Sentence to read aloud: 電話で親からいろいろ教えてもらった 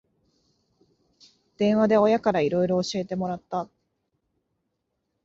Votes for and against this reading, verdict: 2, 0, accepted